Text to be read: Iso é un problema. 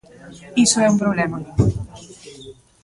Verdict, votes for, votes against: rejected, 1, 2